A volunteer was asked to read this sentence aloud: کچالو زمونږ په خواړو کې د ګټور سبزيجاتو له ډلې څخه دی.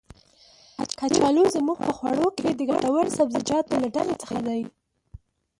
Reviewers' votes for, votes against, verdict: 1, 4, rejected